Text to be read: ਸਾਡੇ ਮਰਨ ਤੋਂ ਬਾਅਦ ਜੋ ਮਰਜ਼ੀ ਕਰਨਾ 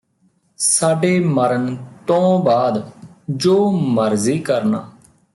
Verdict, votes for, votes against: accepted, 2, 0